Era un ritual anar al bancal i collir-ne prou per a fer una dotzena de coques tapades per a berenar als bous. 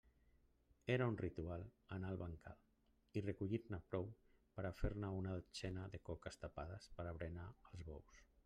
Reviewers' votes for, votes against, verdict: 0, 2, rejected